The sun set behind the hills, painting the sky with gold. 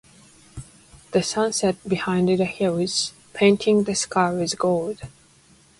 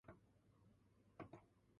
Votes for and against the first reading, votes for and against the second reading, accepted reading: 2, 0, 1, 2, first